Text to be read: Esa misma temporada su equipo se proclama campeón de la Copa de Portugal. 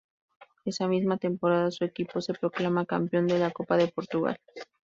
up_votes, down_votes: 2, 0